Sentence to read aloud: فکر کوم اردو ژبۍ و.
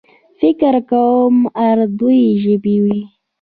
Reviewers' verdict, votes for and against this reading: accepted, 2, 1